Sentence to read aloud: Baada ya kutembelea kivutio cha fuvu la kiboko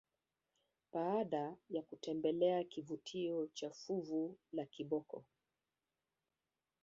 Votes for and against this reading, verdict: 3, 2, accepted